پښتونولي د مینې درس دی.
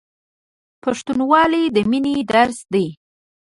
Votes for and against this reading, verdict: 1, 2, rejected